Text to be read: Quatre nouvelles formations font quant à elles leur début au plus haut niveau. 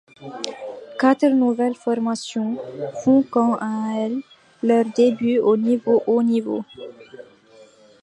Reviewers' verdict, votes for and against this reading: rejected, 0, 2